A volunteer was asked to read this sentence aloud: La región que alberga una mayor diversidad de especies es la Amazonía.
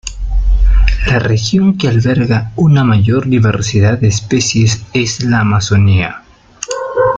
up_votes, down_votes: 2, 0